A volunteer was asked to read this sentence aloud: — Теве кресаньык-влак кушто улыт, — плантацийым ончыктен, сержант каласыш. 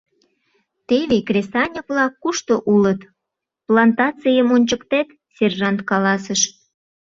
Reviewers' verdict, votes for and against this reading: rejected, 0, 2